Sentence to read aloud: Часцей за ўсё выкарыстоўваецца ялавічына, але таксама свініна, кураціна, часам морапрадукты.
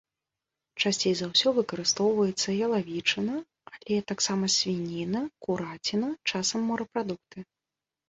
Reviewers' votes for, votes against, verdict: 2, 0, accepted